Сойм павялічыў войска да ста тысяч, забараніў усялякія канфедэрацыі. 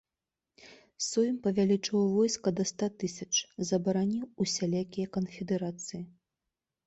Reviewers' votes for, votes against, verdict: 2, 0, accepted